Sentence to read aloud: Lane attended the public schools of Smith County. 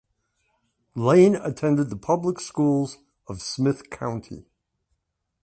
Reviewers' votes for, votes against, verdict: 2, 0, accepted